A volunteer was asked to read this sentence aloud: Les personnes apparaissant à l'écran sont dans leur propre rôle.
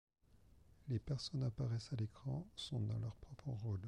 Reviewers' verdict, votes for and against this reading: rejected, 1, 2